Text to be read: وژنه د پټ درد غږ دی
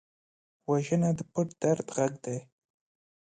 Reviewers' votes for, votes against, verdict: 2, 0, accepted